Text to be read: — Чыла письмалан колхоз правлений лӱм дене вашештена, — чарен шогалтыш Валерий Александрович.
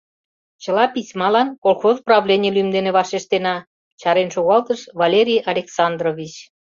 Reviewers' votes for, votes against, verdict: 2, 0, accepted